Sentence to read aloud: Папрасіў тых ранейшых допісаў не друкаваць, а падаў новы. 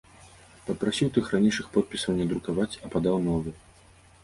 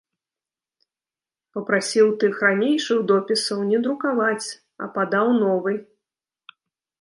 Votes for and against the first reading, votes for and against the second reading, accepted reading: 0, 2, 3, 0, second